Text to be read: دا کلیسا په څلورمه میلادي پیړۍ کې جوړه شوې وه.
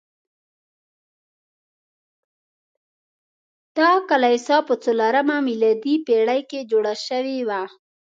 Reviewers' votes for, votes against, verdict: 0, 2, rejected